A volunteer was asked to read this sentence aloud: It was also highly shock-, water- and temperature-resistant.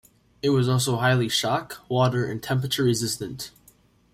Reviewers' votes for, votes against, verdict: 2, 0, accepted